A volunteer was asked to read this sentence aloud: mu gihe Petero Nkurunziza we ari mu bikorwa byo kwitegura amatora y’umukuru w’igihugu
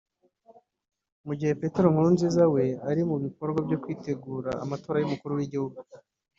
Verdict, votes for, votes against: accepted, 2, 0